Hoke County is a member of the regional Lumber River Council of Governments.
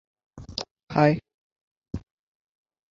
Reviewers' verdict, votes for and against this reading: rejected, 0, 2